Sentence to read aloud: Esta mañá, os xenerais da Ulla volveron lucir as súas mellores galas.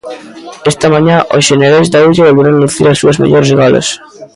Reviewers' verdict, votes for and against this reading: rejected, 1, 2